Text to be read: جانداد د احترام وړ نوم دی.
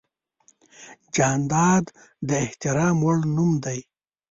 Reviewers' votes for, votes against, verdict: 0, 2, rejected